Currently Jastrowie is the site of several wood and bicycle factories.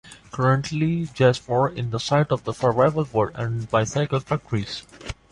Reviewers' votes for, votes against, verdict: 2, 0, accepted